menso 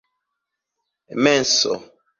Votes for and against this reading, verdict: 2, 0, accepted